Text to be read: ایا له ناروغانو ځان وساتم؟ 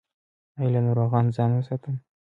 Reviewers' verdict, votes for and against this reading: accepted, 2, 0